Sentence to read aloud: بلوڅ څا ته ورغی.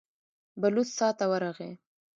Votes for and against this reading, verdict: 0, 2, rejected